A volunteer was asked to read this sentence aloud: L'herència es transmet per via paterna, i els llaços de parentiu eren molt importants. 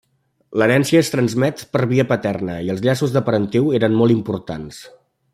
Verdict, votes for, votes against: accepted, 3, 0